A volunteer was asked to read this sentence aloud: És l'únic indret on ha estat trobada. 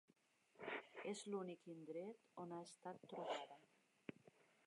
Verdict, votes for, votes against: rejected, 1, 2